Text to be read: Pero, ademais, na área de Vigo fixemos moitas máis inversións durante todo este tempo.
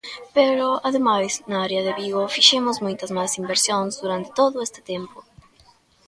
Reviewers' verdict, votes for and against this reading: rejected, 0, 2